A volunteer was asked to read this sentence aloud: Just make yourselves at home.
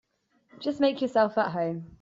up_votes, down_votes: 1, 2